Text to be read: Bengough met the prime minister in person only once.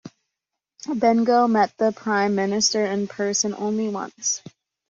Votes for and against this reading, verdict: 2, 0, accepted